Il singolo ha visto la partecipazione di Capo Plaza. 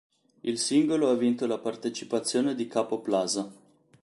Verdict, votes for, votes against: rejected, 0, 2